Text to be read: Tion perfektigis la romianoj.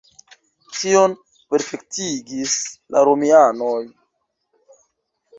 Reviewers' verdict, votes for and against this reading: accepted, 2, 1